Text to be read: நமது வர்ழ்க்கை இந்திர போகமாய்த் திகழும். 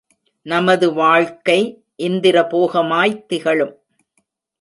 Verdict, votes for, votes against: rejected, 1, 2